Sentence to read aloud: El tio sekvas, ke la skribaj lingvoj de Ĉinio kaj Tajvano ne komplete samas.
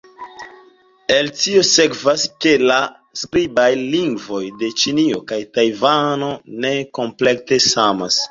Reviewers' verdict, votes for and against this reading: accepted, 2, 0